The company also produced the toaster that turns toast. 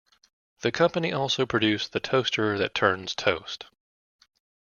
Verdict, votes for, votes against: accepted, 2, 0